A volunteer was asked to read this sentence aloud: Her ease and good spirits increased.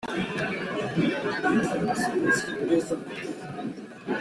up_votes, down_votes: 0, 2